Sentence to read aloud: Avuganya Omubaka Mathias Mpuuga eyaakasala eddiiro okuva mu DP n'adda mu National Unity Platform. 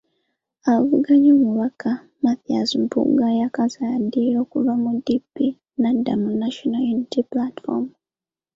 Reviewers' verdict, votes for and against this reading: rejected, 1, 2